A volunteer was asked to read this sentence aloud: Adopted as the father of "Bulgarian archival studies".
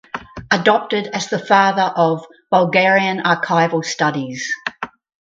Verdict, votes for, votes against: accepted, 4, 0